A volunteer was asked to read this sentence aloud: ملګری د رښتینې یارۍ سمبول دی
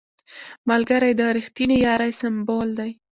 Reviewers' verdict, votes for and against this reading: accepted, 2, 0